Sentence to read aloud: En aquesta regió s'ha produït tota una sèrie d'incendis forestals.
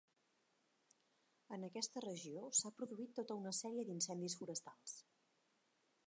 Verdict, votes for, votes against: rejected, 1, 2